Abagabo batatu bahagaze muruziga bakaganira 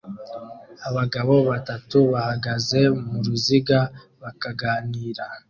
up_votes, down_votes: 2, 0